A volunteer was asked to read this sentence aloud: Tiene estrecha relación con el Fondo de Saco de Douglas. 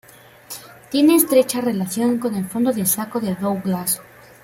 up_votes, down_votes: 2, 1